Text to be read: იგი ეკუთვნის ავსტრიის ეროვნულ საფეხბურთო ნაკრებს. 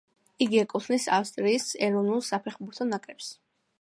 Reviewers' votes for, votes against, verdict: 2, 1, accepted